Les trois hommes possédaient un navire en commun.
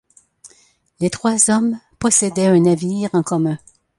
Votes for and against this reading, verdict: 1, 2, rejected